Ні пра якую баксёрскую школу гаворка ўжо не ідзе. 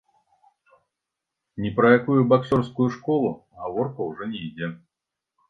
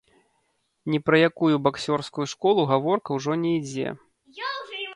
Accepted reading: first